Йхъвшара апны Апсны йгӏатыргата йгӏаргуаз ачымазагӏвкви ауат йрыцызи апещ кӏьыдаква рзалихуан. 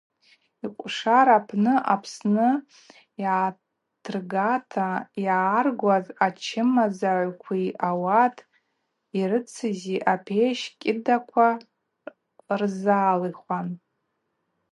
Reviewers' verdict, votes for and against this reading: rejected, 2, 4